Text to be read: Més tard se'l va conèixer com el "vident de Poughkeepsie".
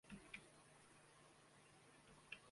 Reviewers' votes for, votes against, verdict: 0, 2, rejected